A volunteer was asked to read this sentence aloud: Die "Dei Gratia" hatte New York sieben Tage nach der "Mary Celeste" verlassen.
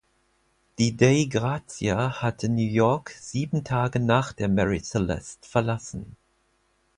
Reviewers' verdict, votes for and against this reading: rejected, 0, 4